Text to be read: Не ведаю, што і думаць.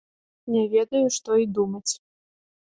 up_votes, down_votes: 3, 0